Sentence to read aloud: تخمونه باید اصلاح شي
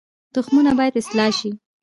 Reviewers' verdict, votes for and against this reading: rejected, 1, 2